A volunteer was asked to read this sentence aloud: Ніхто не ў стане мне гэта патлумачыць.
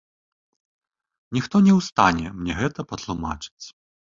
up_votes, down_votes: 2, 0